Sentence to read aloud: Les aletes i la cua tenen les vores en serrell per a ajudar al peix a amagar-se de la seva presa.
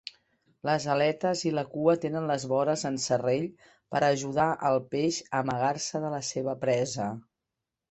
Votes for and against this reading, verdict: 3, 0, accepted